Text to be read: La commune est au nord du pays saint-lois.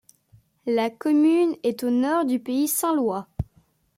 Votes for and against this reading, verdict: 2, 0, accepted